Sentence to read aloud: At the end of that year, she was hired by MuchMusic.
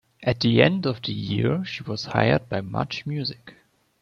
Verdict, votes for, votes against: rejected, 0, 2